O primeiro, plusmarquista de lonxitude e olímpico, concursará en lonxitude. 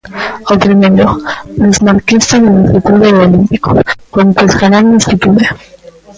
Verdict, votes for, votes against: rejected, 0, 2